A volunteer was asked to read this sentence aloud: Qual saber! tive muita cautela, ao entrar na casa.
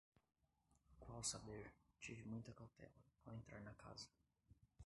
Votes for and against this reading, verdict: 2, 3, rejected